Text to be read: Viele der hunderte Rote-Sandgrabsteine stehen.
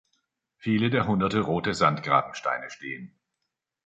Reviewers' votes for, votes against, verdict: 1, 2, rejected